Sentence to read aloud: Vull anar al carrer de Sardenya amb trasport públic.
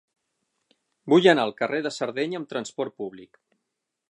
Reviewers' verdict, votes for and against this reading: accepted, 6, 0